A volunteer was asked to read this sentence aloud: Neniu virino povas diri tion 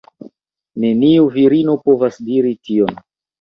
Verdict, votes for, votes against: rejected, 0, 2